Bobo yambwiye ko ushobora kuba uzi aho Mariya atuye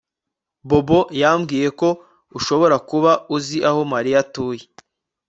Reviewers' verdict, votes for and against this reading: accepted, 2, 0